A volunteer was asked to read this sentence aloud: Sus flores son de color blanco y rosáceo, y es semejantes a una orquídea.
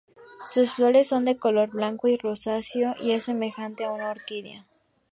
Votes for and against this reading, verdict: 0, 2, rejected